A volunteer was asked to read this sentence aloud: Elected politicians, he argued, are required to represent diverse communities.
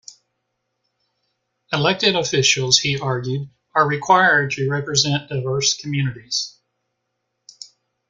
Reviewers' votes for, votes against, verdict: 0, 2, rejected